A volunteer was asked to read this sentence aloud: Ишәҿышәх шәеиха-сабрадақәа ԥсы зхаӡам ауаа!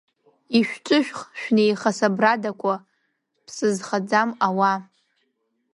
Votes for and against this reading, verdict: 2, 1, accepted